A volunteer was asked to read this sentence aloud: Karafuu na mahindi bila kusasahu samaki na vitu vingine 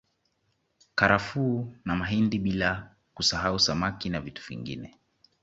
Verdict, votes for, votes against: accepted, 2, 0